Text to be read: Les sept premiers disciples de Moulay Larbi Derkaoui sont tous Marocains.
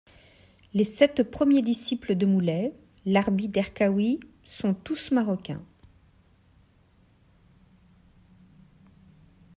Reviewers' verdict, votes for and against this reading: rejected, 1, 2